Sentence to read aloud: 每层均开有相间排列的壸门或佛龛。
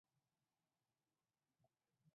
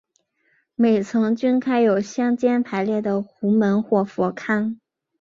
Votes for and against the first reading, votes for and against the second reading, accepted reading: 1, 2, 2, 0, second